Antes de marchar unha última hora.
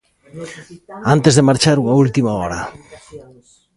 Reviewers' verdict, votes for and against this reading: rejected, 0, 2